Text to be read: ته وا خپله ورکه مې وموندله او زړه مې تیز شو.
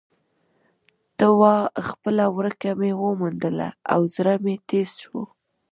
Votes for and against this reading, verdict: 1, 2, rejected